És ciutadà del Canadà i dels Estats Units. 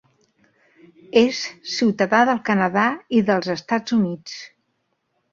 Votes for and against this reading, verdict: 3, 0, accepted